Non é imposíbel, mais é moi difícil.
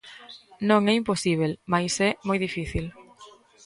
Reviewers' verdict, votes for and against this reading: rejected, 1, 2